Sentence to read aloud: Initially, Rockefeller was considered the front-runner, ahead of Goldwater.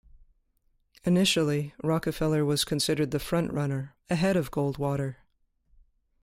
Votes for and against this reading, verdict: 2, 0, accepted